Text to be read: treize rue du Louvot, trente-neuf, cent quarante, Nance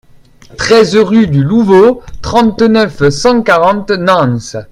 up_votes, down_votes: 2, 0